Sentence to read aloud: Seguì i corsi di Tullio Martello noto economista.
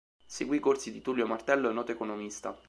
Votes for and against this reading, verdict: 2, 0, accepted